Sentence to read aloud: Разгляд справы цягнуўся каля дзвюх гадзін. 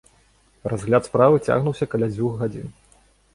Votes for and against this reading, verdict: 1, 2, rejected